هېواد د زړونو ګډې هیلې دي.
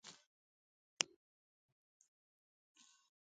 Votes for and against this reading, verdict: 2, 4, rejected